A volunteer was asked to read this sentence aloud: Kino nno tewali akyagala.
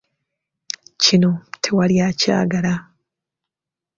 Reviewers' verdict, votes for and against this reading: rejected, 1, 2